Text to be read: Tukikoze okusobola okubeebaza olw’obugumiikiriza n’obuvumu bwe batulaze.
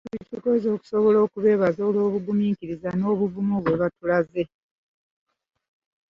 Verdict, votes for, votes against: rejected, 0, 2